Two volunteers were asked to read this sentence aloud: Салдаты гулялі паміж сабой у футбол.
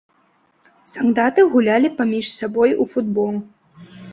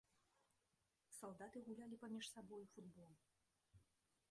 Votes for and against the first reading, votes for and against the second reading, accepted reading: 2, 0, 1, 2, first